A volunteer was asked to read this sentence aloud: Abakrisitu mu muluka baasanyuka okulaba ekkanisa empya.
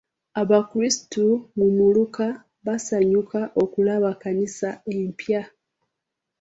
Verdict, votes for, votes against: rejected, 1, 2